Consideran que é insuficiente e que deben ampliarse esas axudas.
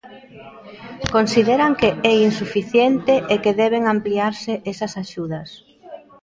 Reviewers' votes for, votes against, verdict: 1, 2, rejected